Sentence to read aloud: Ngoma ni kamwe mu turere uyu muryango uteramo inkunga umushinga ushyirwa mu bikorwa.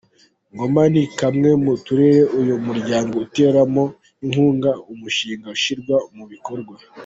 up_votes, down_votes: 2, 0